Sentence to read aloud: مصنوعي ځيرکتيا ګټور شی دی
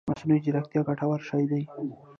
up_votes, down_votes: 1, 2